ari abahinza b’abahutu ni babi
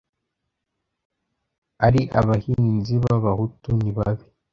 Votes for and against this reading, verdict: 0, 2, rejected